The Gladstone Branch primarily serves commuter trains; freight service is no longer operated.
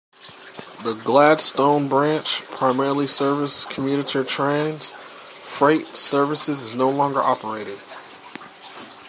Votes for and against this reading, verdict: 1, 2, rejected